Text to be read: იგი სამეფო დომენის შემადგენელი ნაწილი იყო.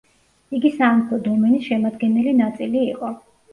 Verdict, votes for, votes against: accepted, 2, 0